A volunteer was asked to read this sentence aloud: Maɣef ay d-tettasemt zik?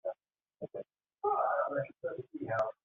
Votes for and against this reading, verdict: 0, 2, rejected